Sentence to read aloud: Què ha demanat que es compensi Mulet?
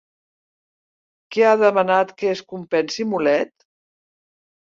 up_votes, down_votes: 2, 0